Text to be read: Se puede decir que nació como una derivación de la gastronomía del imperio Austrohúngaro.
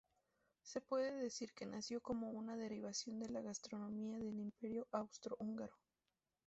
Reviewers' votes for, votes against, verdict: 2, 2, rejected